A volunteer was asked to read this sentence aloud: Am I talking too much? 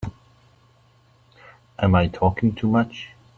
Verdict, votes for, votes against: accepted, 3, 0